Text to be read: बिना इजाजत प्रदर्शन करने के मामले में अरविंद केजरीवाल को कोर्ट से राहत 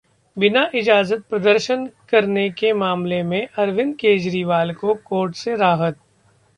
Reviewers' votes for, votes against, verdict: 2, 0, accepted